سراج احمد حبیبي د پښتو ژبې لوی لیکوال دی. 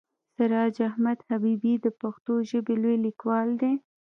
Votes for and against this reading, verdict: 1, 2, rejected